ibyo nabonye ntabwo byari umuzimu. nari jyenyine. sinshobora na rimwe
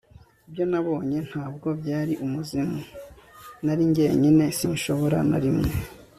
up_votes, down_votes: 2, 0